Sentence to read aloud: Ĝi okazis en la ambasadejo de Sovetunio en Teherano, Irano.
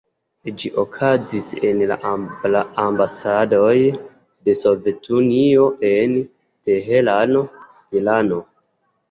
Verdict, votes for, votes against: accepted, 2, 0